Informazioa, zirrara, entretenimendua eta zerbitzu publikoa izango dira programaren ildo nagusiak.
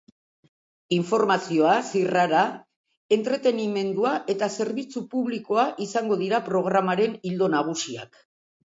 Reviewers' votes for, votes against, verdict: 2, 0, accepted